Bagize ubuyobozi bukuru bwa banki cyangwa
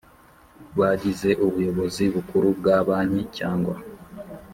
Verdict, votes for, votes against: accepted, 2, 0